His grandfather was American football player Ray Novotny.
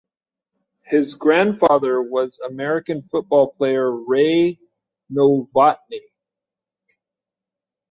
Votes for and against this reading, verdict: 2, 0, accepted